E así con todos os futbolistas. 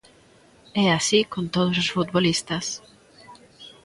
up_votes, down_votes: 1, 2